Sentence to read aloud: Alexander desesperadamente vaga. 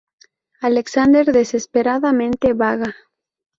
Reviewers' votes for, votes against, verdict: 2, 0, accepted